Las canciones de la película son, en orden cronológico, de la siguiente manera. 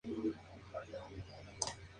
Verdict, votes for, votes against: rejected, 0, 2